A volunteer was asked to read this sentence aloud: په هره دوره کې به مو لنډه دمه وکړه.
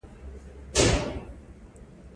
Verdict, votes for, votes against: rejected, 1, 2